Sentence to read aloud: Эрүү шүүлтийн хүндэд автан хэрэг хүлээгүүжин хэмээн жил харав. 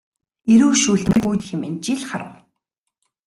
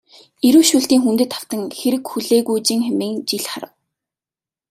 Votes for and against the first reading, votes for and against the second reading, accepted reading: 0, 2, 2, 0, second